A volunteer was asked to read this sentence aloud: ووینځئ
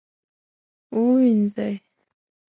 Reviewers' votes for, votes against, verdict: 2, 0, accepted